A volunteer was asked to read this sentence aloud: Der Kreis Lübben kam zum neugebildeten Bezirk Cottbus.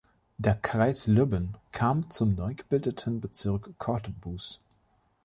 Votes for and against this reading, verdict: 2, 0, accepted